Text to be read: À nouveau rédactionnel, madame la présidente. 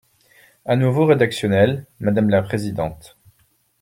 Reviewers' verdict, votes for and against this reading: accepted, 2, 0